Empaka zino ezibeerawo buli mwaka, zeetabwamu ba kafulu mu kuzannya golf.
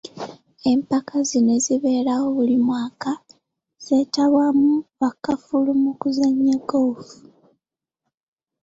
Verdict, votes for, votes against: accepted, 2, 0